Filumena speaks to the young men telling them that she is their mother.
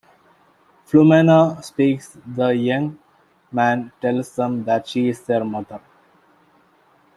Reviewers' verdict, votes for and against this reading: rejected, 1, 2